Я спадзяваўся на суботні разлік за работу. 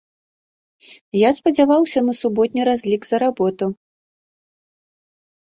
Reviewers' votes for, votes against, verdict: 2, 0, accepted